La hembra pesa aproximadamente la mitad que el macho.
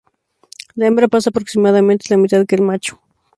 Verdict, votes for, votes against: rejected, 0, 4